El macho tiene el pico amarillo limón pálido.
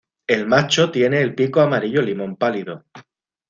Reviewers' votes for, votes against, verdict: 2, 0, accepted